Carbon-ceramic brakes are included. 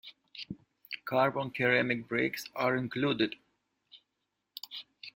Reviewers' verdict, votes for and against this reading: rejected, 1, 2